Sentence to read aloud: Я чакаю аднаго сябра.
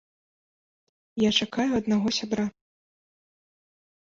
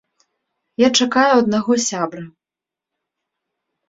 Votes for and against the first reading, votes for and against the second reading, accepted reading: 0, 2, 3, 0, second